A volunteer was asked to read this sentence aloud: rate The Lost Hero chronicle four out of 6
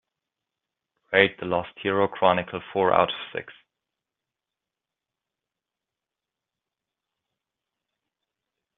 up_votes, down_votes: 0, 2